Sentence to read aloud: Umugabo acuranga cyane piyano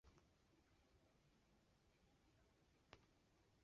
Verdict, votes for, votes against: rejected, 0, 2